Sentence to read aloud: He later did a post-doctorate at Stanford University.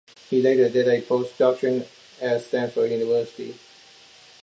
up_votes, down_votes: 2, 0